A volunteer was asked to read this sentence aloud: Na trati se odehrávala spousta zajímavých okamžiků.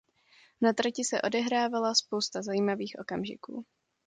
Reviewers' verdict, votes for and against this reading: accepted, 2, 0